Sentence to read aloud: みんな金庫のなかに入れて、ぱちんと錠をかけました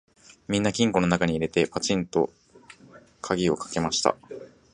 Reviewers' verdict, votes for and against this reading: rejected, 1, 2